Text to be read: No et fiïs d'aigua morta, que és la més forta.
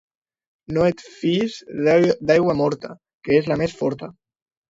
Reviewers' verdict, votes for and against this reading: rejected, 0, 2